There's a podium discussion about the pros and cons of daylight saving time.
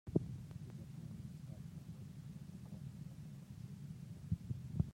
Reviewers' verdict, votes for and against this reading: rejected, 0, 2